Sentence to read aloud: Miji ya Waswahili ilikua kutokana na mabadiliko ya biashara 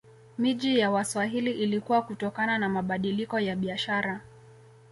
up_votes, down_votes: 2, 0